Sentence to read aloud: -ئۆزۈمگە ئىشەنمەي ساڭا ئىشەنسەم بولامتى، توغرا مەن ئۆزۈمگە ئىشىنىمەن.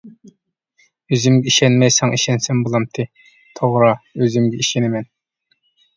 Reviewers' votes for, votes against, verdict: 1, 2, rejected